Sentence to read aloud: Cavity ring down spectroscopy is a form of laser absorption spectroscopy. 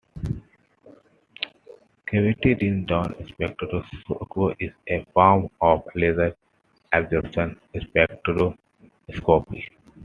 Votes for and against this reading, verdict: 2, 1, accepted